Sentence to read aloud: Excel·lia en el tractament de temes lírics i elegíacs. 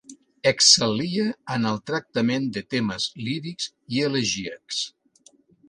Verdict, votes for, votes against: accepted, 3, 0